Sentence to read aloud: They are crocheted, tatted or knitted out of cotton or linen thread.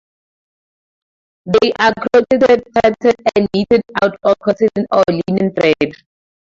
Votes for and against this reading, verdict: 0, 4, rejected